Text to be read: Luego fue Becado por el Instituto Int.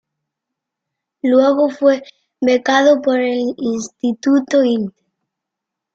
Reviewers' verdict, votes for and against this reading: rejected, 1, 2